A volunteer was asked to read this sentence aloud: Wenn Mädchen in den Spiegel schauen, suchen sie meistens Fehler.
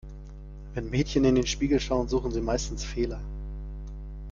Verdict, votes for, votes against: accepted, 3, 0